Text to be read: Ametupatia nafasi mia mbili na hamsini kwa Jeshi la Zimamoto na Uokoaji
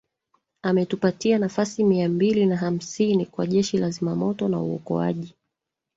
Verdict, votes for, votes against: accepted, 2, 1